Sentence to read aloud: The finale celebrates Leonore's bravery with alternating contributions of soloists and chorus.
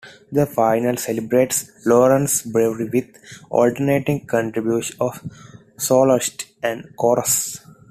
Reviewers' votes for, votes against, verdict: 1, 2, rejected